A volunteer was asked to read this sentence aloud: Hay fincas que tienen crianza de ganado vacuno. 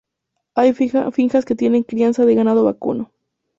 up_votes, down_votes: 0, 2